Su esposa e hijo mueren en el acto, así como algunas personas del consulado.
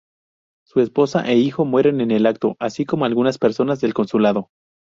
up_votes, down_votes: 2, 0